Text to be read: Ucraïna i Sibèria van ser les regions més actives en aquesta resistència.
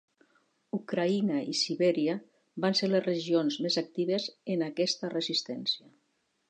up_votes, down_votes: 3, 0